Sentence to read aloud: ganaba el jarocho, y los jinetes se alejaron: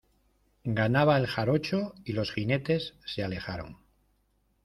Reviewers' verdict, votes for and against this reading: accepted, 2, 0